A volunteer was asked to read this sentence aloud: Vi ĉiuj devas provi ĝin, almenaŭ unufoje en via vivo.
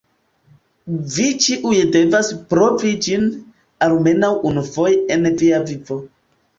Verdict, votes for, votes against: rejected, 0, 2